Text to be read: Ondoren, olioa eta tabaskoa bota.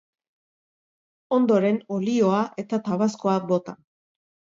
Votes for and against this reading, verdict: 3, 0, accepted